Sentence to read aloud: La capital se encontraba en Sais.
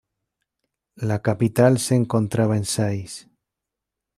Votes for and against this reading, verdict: 2, 0, accepted